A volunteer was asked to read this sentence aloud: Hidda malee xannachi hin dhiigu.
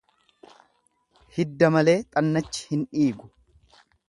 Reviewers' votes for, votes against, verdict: 2, 0, accepted